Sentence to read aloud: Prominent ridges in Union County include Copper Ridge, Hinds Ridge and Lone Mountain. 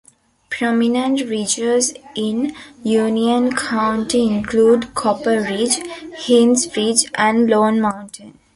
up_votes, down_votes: 2, 0